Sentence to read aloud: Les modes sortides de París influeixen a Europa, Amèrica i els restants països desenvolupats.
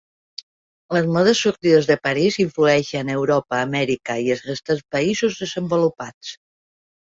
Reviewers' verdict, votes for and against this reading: rejected, 1, 2